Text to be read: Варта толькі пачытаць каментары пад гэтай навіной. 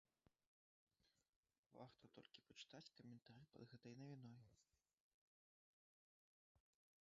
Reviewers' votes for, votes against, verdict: 0, 2, rejected